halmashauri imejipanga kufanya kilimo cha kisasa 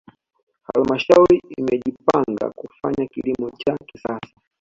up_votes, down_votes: 1, 2